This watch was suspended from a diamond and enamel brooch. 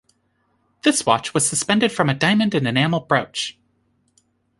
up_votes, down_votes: 2, 0